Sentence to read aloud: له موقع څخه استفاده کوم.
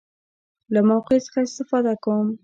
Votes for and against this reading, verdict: 2, 0, accepted